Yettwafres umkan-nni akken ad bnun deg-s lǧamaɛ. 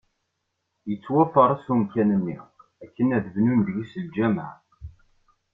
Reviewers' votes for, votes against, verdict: 1, 2, rejected